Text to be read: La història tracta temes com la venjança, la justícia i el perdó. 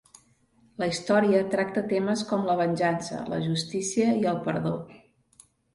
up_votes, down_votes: 2, 0